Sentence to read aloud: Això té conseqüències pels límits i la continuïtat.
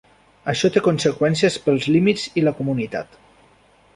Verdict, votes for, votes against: rejected, 0, 2